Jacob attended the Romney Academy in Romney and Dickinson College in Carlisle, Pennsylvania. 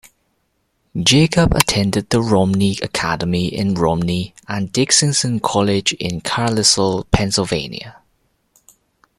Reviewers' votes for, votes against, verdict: 1, 2, rejected